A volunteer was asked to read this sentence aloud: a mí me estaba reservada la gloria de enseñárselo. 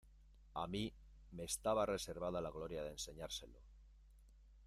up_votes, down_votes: 2, 1